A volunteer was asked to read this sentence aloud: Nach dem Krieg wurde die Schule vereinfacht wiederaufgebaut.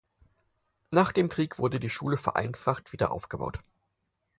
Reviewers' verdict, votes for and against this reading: accepted, 4, 0